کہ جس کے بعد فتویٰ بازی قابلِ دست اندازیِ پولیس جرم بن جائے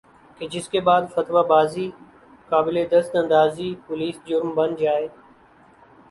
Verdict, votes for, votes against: accepted, 6, 0